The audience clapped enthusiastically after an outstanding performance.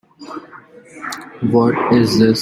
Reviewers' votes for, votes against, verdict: 0, 2, rejected